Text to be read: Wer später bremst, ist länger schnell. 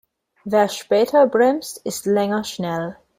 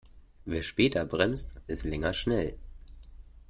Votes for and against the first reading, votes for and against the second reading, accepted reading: 1, 2, 2, 0, second